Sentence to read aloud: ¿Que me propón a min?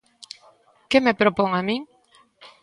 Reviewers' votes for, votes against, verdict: 2, 0, accepted